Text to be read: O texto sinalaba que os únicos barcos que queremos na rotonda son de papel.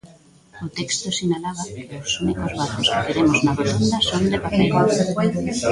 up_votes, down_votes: 0, 2